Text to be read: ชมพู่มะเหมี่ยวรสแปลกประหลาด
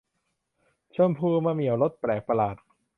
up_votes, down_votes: 0, 2